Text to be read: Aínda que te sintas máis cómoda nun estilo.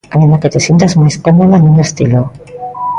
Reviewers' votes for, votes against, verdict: 1, 2, rejected